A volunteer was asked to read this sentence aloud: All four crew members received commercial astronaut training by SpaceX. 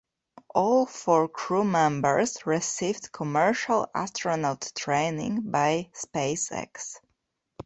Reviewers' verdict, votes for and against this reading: accepted, 2, 0